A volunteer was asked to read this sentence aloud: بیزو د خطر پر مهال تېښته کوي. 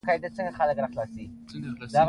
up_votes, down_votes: 0, 2